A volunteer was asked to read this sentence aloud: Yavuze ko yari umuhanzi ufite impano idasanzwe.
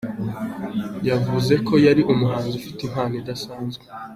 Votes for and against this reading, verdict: 2, 0, accepted